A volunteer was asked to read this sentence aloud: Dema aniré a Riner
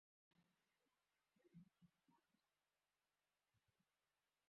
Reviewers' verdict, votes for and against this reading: rejected, 0, 2